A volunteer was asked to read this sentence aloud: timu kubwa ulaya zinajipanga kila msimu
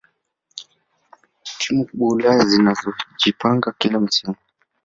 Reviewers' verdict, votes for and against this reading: rejected, 1, 2